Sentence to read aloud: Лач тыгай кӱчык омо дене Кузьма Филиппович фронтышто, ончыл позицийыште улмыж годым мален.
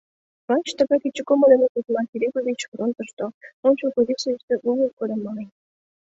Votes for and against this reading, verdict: 1, 2, rejected